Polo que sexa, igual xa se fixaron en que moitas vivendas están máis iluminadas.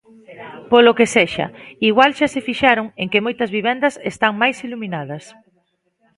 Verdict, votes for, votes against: accepted, 2, 0